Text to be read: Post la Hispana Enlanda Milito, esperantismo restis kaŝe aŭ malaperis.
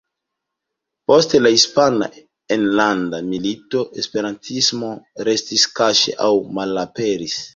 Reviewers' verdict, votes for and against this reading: rejected, 0, 2